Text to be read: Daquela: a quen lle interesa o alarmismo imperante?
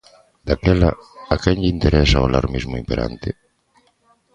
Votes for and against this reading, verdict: 1, 2, rejected